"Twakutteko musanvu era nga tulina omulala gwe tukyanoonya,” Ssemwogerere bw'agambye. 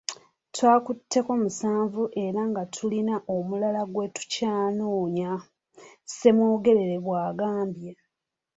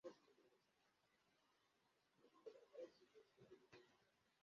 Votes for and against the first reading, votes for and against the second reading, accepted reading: 2, 0, 0, 2, first